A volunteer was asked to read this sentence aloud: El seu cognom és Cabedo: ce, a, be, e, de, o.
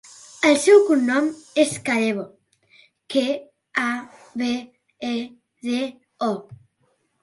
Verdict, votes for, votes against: rejected, 0, 2